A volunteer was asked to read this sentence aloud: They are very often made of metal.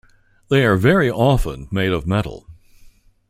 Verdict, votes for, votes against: accepted, 2, 0